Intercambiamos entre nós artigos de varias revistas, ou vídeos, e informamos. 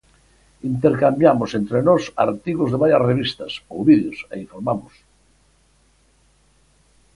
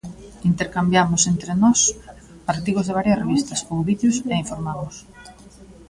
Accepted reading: first